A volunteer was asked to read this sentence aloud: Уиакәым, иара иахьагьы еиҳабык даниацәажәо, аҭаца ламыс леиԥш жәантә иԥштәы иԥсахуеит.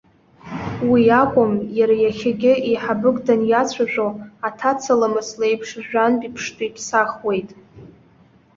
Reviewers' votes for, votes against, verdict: 0, 2, rejected